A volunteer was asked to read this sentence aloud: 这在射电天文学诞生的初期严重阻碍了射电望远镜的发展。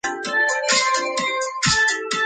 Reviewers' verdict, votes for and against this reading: rejected, 0, 5